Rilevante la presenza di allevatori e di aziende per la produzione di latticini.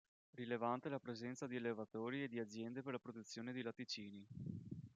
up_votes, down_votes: 1, 2